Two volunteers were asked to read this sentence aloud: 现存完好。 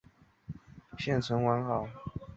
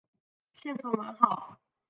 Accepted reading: first